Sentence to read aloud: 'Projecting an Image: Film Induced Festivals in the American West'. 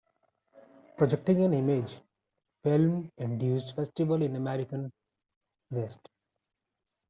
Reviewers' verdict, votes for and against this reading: rejected, 1, 2